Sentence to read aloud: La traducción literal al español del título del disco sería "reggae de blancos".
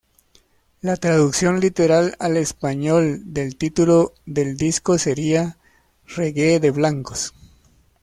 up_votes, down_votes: 2, 1